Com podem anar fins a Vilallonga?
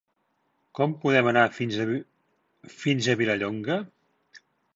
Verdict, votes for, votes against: rejected, 1, 3